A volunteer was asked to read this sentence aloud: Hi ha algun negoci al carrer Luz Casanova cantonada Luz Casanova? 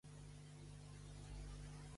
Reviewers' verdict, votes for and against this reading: rejected, 0, 2